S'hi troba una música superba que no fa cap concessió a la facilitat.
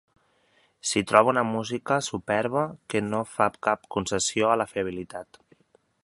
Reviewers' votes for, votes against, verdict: 0, 2, rejected